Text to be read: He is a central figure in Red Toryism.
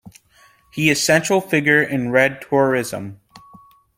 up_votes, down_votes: 0, 2